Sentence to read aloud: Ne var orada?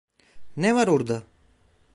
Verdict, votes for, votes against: accepted, 2, 0